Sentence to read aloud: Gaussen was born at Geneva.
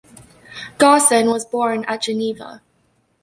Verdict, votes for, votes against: accepted, 2, 0